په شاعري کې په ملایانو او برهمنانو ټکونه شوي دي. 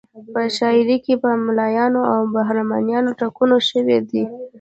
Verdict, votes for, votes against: accepted, 2, 0